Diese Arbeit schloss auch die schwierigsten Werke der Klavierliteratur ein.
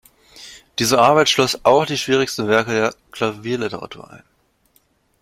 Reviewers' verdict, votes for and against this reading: rejected, 0, 2